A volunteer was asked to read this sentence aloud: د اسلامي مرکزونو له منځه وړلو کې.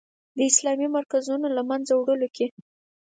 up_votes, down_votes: 4, 0